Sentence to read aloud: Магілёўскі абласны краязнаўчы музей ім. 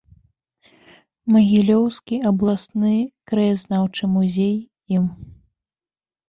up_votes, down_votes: 2, 1